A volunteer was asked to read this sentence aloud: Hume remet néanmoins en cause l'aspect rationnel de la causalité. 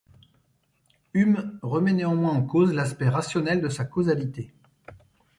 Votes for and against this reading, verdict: 0, 2, rejected